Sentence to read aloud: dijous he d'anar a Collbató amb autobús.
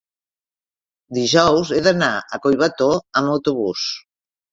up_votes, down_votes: 2, 0